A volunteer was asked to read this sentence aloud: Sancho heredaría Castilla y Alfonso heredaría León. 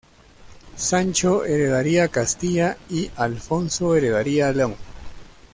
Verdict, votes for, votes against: accepted, 2, 1